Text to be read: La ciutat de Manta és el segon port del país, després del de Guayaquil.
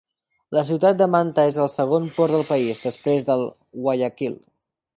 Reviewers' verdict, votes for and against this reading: rejected, 0, 8